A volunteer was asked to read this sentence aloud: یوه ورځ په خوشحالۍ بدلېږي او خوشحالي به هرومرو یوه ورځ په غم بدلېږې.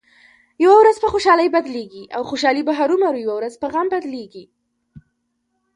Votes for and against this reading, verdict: 2, 0, accepted